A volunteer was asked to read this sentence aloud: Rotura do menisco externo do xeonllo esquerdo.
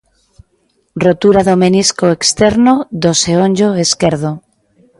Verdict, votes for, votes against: accepted, 2, 0